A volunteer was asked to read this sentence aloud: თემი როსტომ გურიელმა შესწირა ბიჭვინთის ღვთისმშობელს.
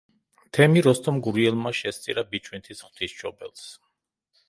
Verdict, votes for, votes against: rejected, 0, 2